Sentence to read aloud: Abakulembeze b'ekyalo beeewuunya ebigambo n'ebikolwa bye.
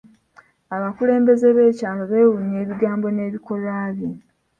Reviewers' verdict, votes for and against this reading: rejected, 0, 2